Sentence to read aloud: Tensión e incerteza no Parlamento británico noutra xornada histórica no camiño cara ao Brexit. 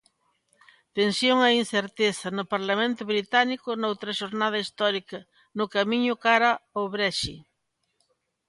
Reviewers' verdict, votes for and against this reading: accepted, 2, 0